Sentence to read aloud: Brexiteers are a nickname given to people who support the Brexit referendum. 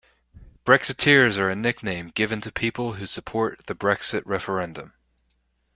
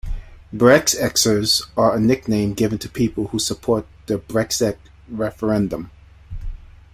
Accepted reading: first